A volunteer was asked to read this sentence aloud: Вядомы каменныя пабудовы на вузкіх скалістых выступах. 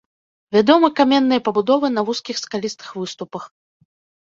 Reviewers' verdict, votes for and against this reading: accepted, 2, 0